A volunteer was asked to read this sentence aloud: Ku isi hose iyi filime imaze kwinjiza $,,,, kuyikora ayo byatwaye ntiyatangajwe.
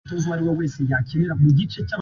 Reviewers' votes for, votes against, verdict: 0, 2, rejected